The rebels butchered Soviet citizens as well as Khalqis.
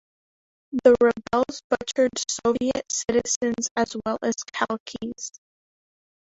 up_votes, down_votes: 2, 1